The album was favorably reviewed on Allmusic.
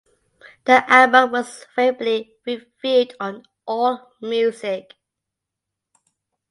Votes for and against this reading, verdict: 2, 0, accepted